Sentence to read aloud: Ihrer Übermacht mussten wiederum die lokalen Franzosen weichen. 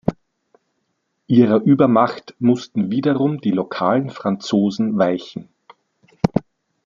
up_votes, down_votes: 2, 0